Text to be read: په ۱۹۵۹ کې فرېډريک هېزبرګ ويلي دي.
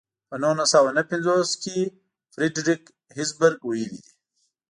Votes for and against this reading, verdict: 0, 2, rejected